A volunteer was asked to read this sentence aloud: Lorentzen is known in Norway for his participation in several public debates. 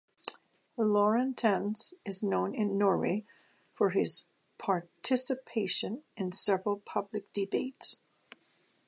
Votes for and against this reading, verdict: 0, 2, rejected